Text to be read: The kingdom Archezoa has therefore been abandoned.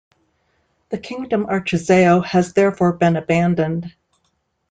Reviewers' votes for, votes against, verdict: 0, 2, rejected